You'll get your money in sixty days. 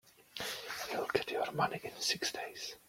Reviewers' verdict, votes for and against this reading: rejected, 1, 2